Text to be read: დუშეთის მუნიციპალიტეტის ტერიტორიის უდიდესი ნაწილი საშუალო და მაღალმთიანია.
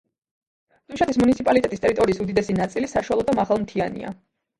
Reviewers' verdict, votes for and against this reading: rejected, 0, 3